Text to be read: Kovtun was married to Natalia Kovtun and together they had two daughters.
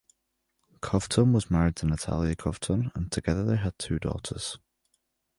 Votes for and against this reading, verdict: 2, 0, accepted